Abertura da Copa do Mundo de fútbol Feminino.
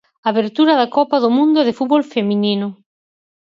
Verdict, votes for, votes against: accepted, 4, 0